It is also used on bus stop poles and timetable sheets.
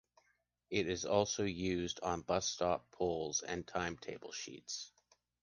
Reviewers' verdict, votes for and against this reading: accepted, 2, 0